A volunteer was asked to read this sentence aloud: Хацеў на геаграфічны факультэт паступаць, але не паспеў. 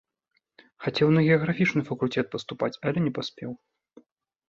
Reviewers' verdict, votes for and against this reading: rejected, 1, 2